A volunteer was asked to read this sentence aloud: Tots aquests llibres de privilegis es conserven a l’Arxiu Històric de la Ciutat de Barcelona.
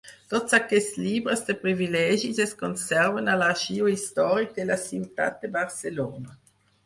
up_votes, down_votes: 4, 2